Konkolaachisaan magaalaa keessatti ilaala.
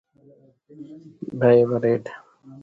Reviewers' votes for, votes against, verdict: 0, 2, rejected